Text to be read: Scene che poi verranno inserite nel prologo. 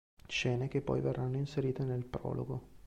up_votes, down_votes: 2, 0